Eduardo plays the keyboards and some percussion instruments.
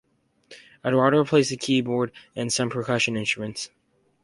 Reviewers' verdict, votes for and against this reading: rejected, 0, 2